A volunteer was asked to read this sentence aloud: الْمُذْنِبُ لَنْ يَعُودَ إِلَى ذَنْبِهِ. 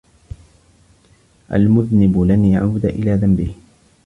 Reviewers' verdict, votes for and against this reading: accepted, 2, 1